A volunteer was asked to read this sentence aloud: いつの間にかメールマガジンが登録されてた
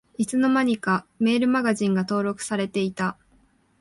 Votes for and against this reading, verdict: 0, 2, rejected